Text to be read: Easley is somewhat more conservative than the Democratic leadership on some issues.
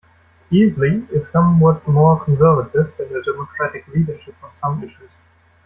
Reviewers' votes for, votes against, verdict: 2, 0, accepted